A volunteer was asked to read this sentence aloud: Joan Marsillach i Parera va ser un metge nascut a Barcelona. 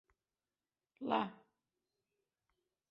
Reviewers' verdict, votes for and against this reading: rejected, 0, 2